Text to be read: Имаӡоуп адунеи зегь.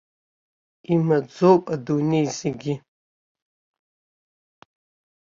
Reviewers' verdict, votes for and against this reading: rejected, 0, 2